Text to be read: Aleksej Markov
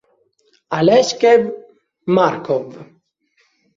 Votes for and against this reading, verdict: 0, 2, rejected